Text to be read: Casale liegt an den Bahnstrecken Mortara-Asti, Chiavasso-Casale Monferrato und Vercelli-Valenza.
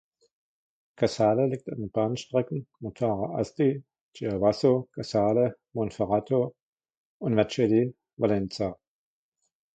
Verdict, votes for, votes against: rejected, 1, 2